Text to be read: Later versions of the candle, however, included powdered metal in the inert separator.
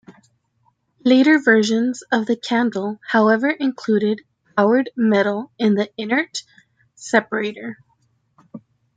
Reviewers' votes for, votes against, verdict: 2, 1, accepted